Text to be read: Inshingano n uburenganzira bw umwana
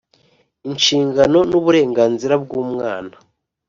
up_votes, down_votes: 2, 0